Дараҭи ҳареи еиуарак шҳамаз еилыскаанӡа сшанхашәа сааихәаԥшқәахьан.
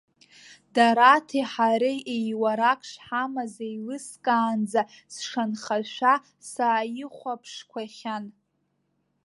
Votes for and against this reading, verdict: 1, 2, rejected